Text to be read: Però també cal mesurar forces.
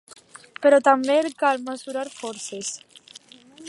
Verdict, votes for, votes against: accepted, 3, 0